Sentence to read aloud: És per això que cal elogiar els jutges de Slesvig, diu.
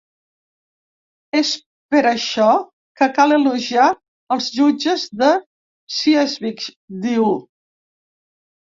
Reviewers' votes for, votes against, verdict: 0, 2, rejected